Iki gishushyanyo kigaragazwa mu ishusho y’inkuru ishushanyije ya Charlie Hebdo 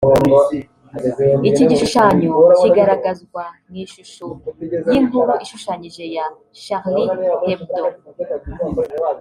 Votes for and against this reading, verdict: 0, 2, rejected